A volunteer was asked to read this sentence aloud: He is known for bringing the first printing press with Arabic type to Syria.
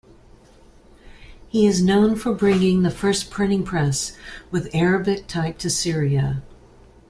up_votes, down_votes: 2, 0